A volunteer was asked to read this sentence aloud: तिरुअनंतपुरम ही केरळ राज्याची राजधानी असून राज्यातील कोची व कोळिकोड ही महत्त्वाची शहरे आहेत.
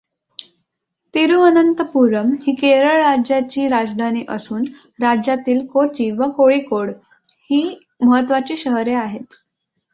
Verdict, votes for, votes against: accepted, 2, 0